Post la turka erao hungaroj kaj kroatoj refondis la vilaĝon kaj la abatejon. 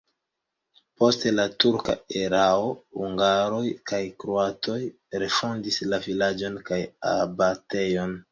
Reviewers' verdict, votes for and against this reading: rejected, 0, 2